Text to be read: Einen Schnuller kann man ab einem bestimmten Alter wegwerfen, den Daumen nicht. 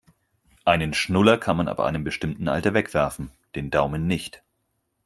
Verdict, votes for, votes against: accepted, 4, 0